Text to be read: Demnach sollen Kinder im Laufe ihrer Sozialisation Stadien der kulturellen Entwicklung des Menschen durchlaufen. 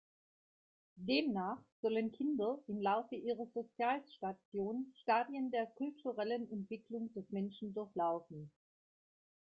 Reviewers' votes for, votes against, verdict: 2, 1, accepted